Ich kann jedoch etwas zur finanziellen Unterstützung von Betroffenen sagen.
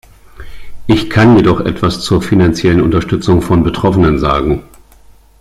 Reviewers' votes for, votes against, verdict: 2, 0, accepted